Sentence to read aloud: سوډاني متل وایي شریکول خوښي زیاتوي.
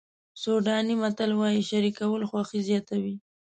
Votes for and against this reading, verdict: 2, 0, accepted